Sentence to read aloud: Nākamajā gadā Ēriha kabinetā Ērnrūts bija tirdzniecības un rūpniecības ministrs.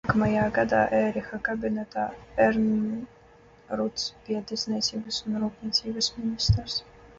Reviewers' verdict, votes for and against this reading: rejected, 0, 2